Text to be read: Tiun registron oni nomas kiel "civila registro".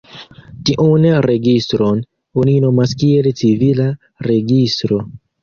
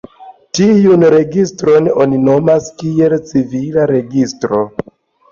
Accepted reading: second